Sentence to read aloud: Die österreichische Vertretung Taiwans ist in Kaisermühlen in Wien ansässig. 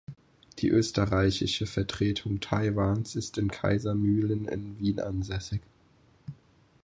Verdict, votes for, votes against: accepted, 4, 0